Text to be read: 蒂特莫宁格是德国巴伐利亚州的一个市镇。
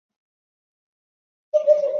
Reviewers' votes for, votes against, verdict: 3, 2, accepted